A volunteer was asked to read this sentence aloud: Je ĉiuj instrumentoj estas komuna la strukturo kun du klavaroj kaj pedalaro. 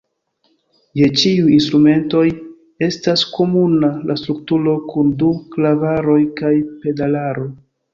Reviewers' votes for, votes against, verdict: 1, 2, rejected